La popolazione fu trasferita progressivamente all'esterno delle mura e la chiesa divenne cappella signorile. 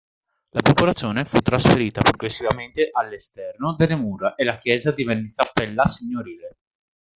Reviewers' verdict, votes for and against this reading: rejected, 1, 2